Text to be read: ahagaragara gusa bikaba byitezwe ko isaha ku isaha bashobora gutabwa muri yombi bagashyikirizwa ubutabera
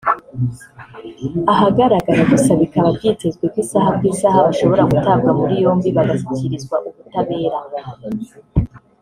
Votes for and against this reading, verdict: 1, 2, rejected